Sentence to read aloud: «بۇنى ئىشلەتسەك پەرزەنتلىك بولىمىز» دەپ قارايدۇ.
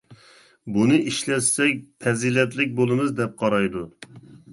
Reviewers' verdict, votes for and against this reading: rejected, 0, 2